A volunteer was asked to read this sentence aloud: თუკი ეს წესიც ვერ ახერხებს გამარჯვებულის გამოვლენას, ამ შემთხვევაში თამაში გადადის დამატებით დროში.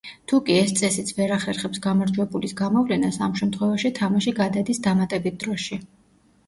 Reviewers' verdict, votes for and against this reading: accepted, 2, 0